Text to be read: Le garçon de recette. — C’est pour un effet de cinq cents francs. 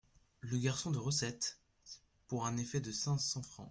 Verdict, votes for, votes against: rejected, 0, 2